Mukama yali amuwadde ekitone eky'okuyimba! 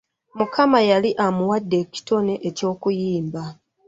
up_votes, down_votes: 2, 1